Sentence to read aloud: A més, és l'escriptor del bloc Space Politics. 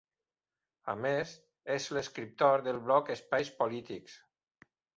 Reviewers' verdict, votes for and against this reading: accepted, 2, 1